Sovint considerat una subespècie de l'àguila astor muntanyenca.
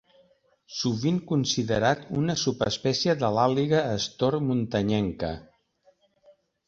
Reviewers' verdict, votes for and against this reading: rejected, 1, 2